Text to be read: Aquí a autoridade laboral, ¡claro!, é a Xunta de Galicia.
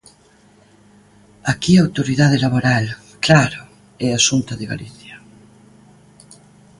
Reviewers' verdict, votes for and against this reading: accepted, 2, 0